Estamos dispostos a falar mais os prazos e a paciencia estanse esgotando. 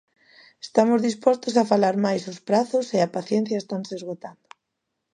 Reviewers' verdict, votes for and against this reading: accepted, 2, 0